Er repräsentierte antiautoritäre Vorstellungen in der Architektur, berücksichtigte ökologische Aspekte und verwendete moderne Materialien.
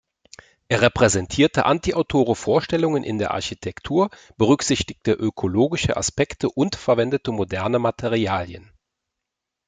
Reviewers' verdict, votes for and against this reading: rejected, 0, 2